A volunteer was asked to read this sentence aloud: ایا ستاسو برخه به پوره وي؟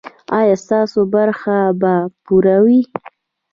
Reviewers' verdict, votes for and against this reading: rejected, 1, 2